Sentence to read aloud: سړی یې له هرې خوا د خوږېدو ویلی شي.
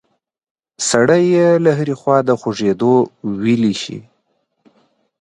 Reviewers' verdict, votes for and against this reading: accepted, 2, 0